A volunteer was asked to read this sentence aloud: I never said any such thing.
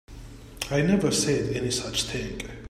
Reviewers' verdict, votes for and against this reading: accepted, 2, 1